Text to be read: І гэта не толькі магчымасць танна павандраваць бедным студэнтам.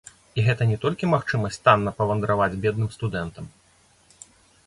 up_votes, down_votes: 0, 2